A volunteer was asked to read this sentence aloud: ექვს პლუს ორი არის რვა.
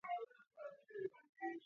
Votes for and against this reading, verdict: 0, 2, rejected